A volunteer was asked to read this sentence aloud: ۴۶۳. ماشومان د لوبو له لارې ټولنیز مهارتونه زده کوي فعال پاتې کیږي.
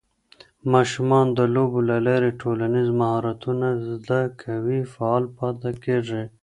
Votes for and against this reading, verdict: 0, 2, rejected